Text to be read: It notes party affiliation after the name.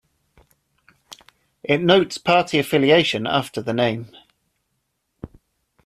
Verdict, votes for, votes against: accepted, 2, 0